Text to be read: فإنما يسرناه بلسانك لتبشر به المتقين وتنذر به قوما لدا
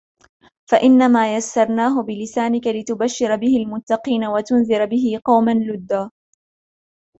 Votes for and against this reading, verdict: 0, 3, rejected